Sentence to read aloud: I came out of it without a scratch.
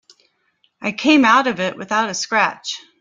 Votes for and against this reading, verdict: 0, 2, rejected